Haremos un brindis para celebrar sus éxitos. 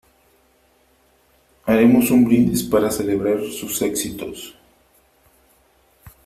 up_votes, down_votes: 3, 0